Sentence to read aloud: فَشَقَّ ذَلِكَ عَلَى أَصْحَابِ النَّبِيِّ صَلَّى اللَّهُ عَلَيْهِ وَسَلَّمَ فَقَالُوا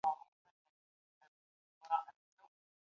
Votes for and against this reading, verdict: 1, 2, rejected